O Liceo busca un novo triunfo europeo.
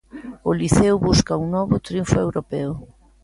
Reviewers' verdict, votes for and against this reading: accepted, 2, 0